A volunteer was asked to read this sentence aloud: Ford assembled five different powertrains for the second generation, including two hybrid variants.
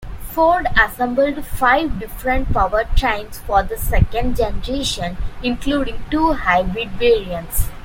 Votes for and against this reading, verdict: 1, 2, rejected